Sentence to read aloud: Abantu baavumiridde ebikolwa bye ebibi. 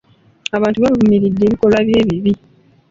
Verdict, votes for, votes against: accepted, 2, 0